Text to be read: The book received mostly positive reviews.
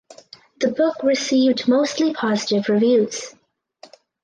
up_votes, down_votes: 4, 0